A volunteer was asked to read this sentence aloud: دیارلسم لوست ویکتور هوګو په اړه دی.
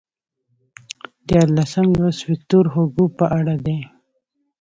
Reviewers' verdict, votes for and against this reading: rejected, 1, 2